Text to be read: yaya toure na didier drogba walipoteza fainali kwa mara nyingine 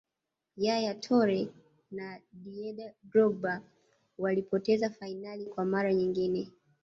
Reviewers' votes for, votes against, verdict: 0, 2, rejected